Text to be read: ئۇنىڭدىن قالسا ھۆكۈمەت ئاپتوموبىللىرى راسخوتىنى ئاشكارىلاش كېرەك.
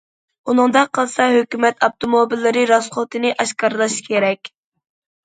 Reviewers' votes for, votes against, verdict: 0, 2, rejected